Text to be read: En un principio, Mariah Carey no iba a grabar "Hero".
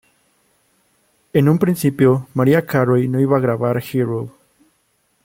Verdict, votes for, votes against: rejected, 1, 2